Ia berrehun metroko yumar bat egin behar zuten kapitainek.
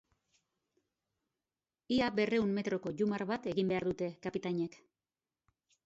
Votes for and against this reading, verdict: 1, 2, rejected